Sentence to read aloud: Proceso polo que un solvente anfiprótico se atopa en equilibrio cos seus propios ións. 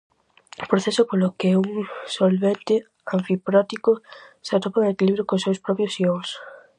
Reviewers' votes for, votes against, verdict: 4, 0, accepted